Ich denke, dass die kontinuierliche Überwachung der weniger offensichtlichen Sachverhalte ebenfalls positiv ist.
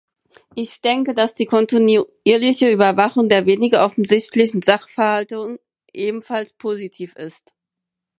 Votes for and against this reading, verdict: 2, 4, rejected